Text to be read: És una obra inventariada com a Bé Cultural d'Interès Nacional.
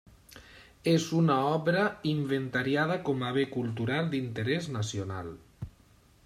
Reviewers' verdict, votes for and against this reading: accepted, 2, 0